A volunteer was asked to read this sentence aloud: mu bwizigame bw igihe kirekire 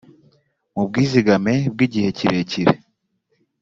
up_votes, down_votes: 2, 0